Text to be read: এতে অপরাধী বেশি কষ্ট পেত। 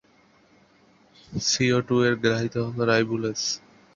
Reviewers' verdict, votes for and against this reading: rejected, 0, 2